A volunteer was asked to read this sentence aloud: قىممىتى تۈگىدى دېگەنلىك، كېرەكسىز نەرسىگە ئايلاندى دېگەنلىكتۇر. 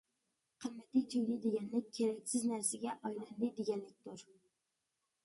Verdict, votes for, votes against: accepted, 2, 1